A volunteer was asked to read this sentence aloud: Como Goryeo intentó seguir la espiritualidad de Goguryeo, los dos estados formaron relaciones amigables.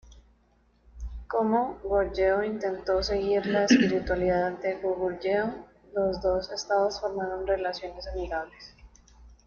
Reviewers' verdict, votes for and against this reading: rejected, 0, 2